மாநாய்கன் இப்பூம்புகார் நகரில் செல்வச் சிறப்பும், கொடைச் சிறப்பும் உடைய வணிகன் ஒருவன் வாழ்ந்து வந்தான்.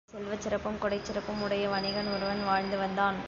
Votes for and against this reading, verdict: 0, 2, rejected